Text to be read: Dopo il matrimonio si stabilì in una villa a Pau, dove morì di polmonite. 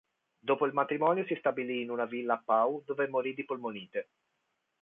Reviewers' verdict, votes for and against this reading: accepted, 2, 0